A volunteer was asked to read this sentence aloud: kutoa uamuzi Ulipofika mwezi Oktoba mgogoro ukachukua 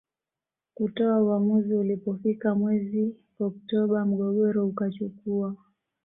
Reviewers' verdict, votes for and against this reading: accepted, 2, 0